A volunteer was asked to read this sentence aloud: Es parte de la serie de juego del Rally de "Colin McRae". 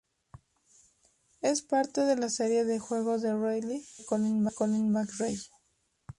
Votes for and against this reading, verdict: 0, 2, rejected